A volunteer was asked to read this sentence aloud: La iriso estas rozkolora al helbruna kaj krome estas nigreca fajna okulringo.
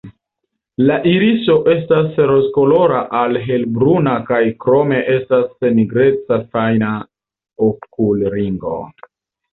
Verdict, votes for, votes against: accepted, 2, 0